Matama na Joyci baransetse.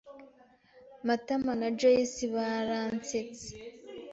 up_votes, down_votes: 2, 0